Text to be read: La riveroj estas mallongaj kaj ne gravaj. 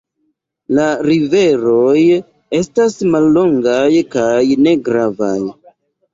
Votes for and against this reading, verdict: 1, 2, rejected